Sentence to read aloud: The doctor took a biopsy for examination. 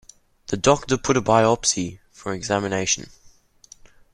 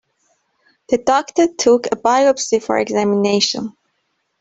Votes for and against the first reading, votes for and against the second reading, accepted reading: 0, 2, 2, 0, second